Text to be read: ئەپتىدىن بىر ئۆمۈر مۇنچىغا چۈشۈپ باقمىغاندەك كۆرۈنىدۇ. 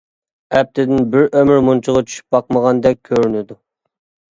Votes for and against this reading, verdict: 2, 0, accepted